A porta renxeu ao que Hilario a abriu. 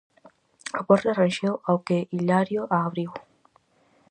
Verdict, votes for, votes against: accepted, 4, 0